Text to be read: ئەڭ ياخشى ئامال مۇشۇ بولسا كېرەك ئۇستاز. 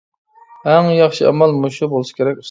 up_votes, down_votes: 0, 2